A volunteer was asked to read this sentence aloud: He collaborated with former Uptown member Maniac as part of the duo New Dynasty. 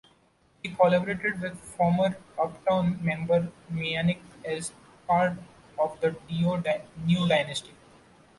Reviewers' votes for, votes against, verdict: 1, 2, rejected